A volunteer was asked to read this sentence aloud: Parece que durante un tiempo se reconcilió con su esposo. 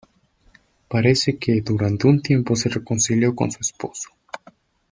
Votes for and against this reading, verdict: 2, 0, accepted